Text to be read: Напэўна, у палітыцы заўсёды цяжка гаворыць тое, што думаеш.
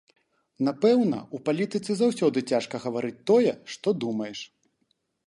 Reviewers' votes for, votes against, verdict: 1, 2, rejected